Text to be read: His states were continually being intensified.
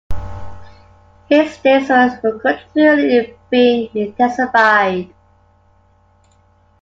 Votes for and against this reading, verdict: 1, 2, rejected